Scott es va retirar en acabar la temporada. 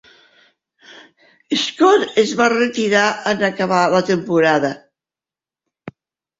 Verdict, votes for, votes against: rejected, 1, 2